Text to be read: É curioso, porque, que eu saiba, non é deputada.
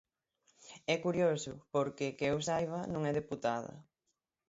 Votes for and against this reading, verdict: 6, 0, accepted